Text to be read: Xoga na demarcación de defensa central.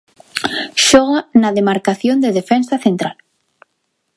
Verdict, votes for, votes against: accepted, 2, 0